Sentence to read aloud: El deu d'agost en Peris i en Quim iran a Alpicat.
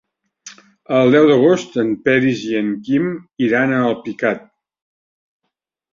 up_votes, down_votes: 3, 0